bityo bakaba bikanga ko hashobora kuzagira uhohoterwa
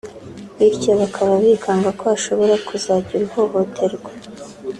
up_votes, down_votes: 3, 0